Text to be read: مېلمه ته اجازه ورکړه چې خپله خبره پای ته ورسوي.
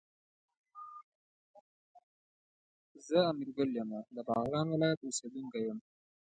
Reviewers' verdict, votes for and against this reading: rejected, 1, 2